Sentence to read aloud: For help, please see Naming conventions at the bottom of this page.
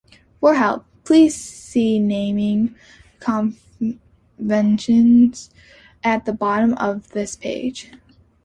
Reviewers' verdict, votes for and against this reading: rejected, 0, 2